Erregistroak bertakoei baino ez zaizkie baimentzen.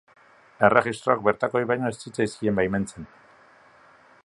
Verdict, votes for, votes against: rejected, 0, 2